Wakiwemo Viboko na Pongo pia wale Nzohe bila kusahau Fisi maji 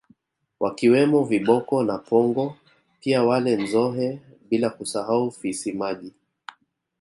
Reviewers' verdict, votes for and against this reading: accepted, 2, 0